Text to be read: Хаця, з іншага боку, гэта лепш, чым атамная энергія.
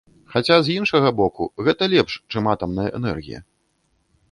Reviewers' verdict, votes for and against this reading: accepted, 2, 0